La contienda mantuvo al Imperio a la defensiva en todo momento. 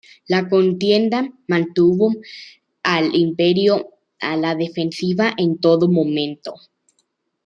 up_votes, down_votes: 2, 0